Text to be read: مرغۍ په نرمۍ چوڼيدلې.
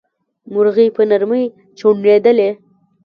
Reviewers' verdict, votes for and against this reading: rejected, 1, 2